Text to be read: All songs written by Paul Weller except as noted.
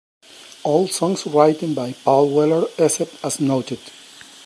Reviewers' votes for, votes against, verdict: 0, 2, rejected